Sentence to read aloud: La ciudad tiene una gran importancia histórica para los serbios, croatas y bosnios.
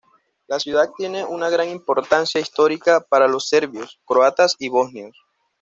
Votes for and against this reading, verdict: 2, 0, accepted